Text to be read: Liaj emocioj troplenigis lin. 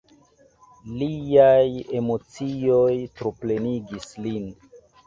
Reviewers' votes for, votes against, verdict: 2, 0, accepted